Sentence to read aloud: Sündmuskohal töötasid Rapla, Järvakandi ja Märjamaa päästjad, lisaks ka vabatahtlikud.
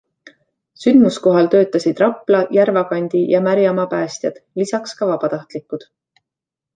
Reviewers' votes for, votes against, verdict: 2, 0, accepted